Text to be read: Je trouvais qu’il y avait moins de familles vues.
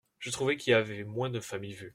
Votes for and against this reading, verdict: 0, 2, rejected